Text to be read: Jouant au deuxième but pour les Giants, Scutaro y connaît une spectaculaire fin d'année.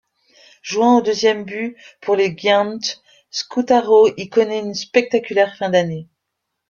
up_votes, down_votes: 1, 2